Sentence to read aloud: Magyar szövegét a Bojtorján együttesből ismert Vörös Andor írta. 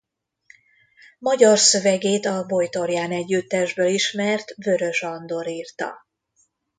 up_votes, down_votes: 2, 0